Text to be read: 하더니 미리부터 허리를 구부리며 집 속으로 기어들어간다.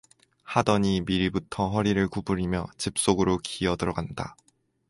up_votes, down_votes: 4, 2